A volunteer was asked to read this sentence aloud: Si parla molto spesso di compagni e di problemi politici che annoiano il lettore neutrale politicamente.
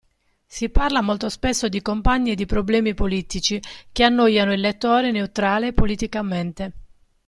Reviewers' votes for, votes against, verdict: 2, 0, accepted